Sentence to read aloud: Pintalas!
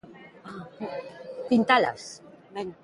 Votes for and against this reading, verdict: 3, 2, accepted